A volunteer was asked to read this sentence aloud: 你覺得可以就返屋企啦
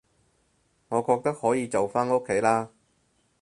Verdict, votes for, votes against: rejected, 2, 4